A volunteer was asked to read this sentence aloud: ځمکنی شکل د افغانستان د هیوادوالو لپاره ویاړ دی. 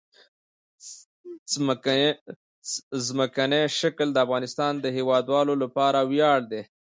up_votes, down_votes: 1, 2